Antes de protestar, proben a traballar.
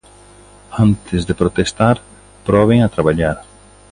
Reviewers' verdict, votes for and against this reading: accepted, 2, 1